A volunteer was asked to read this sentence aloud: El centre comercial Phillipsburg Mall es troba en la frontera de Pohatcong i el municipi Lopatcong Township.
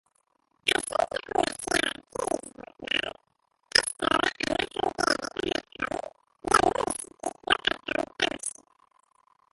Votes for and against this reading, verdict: 0, 4, rejected